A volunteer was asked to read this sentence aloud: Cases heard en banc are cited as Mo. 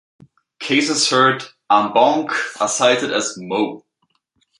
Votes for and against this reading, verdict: 2, 1, accepted